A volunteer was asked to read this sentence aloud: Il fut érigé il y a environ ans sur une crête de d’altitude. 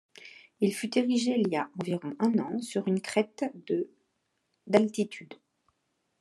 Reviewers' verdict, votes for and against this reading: rejected, 0, 2